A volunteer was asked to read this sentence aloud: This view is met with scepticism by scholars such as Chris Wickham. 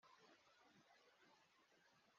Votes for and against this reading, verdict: 0, 2, rejected